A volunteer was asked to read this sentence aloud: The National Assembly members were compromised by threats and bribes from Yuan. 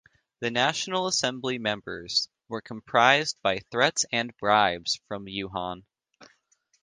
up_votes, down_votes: 0, 2